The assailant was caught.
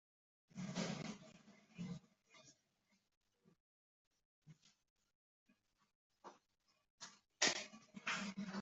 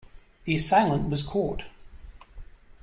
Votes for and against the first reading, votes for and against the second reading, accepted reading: 0, 2, 2, 0, second